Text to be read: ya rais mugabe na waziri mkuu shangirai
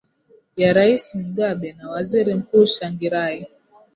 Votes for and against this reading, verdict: 2, 0, accepted